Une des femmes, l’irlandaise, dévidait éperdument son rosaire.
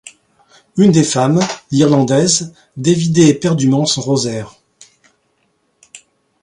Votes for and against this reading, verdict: 2, 0, accepted